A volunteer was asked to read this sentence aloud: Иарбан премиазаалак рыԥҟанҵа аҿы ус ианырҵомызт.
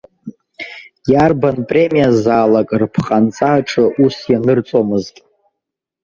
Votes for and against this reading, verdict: 2, 1, accepted